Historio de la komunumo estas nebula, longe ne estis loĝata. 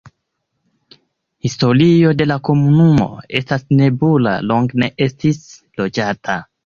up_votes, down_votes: 2, 3